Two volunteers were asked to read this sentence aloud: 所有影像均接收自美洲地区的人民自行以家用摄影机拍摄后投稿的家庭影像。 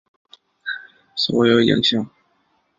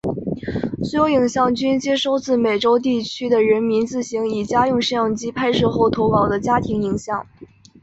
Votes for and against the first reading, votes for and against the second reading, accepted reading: 0, 2, 5, 0, second